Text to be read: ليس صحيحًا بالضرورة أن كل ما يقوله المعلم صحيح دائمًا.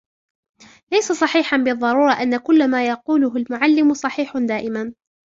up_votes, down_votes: 0, 2